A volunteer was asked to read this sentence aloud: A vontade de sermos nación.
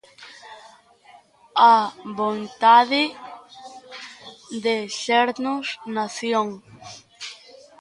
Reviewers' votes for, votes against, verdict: 1, 2, rejected